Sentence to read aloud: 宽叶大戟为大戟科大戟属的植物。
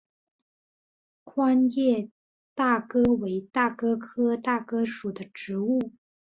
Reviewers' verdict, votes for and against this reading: rejected, 0, 3